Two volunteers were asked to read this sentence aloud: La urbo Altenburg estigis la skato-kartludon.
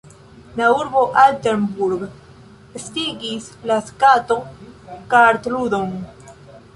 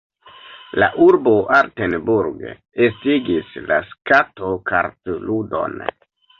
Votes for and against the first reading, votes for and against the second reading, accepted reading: 2, 1, 1, 3, first